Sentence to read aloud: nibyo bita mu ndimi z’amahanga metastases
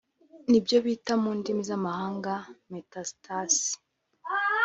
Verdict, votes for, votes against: accepted, 2, 0